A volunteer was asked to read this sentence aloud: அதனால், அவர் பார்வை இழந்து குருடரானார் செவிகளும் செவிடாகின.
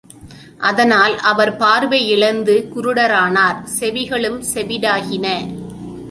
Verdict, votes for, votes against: accepted, 2, 0